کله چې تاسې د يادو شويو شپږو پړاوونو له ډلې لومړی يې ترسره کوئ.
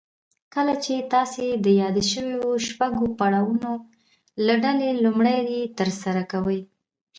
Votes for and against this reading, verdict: 1, 2, rejected